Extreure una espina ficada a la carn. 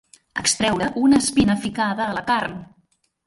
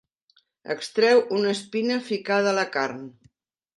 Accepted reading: first